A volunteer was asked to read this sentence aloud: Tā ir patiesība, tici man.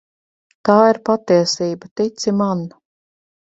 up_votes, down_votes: 2, 0